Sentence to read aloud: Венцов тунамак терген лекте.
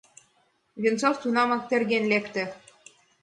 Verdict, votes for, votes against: accepted, 2, 0